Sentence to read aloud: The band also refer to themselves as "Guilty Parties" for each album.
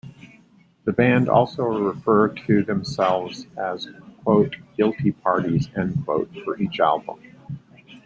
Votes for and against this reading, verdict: 1, 2, rejected